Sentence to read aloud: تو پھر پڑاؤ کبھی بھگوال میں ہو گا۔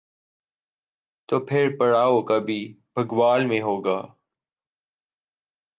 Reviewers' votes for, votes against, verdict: 2, 0, accepted